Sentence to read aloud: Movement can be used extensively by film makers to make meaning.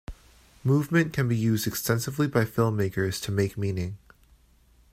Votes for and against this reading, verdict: 2, 0, accepted